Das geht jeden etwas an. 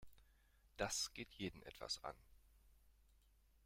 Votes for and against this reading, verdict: 1, 2, rejected